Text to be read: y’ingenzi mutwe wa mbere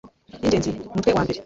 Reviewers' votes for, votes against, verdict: 0, 2, rejected